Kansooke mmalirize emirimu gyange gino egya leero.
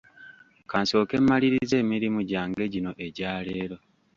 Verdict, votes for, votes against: rejected, 1, 2